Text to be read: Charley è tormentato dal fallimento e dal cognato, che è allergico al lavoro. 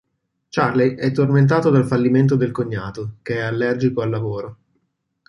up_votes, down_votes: 2, 0